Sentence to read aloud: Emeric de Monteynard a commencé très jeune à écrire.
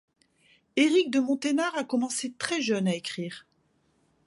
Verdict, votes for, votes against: rejected, 0, 2